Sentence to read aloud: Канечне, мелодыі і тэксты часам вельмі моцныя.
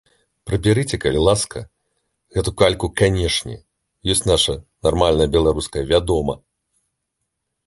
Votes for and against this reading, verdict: 0, 3, rejected